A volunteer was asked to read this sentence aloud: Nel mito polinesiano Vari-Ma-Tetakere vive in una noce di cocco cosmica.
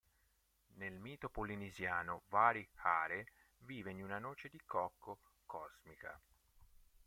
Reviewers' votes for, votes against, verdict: 0, 2, rejected